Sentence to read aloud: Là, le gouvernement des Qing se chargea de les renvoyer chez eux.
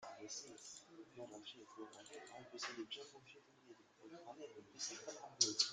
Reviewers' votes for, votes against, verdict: 0, 2, rejected